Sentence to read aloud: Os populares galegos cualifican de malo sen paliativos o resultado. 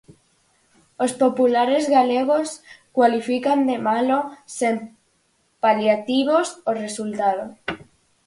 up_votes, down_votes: 4, 2